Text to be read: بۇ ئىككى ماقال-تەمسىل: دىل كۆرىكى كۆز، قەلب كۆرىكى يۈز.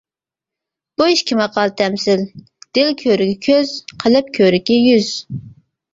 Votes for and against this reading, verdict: 0, 2, rejected